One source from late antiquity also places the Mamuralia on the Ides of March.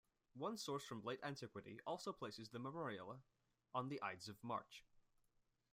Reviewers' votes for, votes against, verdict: 1, 2, rejected